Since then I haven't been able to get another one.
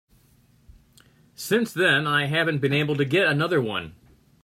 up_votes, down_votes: 3, 0